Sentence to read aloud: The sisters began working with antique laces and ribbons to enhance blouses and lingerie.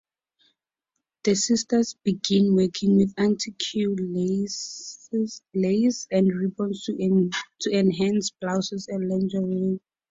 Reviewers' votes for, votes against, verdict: 0, 2, rejected